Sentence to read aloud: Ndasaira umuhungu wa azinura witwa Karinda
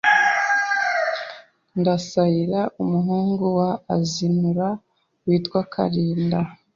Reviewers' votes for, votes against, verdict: 2, 0, accepted